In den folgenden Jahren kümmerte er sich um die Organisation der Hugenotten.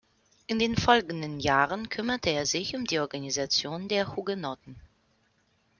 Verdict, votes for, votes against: accepted, 2, 0